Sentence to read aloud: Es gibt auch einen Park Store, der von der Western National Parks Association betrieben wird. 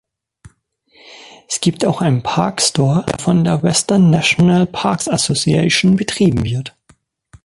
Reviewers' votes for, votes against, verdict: 0, 2, rejected